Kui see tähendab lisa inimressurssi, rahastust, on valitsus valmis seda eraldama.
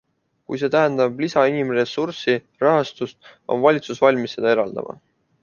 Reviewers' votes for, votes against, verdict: 2, 0, accepted